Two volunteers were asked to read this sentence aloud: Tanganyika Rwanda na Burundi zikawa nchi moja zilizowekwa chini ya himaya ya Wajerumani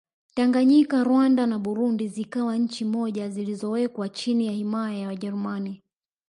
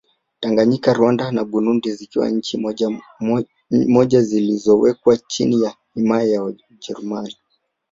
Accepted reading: second